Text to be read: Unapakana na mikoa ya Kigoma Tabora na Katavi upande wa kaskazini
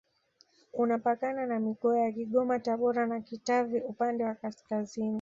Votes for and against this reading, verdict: 1, 2, rejected